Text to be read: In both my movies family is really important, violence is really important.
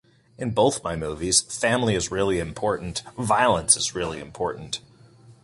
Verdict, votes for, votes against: accepted, 2, 0